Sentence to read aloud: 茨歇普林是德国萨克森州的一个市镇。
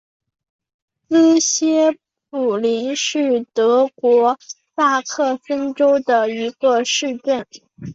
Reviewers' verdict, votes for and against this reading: rejected, 3, 4